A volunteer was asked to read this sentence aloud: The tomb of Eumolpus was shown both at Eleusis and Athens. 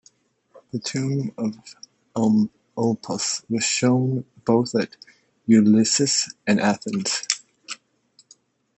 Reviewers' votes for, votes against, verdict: 1, 2, rejected